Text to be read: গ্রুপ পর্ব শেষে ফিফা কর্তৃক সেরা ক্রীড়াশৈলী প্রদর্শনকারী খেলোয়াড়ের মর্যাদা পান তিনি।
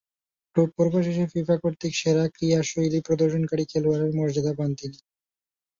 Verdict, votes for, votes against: rejected, 1, 2